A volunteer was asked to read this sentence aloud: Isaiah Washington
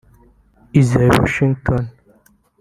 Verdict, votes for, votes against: rejected, 1, 3